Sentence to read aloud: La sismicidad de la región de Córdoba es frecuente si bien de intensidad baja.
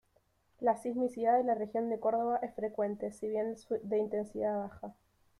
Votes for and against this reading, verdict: 1, 2, rejected